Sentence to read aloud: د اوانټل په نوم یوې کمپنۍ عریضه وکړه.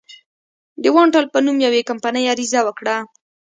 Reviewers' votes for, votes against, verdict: 2, 0, accepted